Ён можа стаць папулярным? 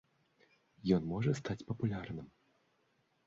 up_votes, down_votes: 2, 0